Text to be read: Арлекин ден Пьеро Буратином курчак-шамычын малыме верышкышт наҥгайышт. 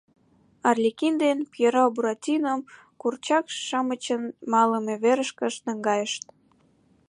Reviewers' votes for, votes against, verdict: 2, 0, accepted